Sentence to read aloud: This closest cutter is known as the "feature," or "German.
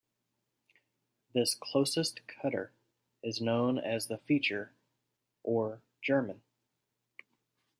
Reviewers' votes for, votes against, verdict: 2, 0, accepted